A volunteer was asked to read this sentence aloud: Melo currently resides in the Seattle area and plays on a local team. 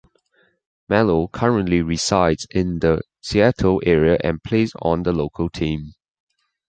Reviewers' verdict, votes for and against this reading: rejected, 1, 2